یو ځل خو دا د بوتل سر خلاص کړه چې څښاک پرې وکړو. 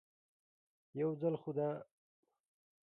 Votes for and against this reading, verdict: 1, 2, rejected